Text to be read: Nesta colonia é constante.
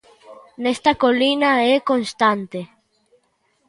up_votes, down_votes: 0, 2